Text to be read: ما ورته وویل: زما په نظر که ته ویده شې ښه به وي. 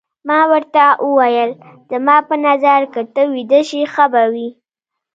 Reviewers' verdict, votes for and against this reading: accepted, 2, 0